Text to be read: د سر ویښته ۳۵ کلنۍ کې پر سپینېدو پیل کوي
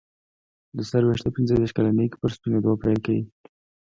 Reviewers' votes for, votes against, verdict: 0, 2, rejected